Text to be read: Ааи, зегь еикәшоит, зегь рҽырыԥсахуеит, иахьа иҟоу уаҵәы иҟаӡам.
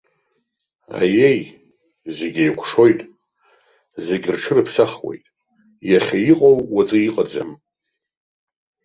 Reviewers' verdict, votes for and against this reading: rejected, 0, 3